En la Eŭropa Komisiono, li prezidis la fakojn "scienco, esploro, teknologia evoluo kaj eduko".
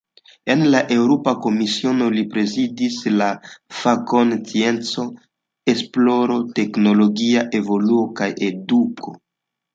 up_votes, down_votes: 2, 0